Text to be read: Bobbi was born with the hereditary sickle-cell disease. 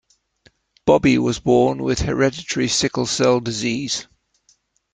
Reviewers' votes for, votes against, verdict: 0, 2, rejected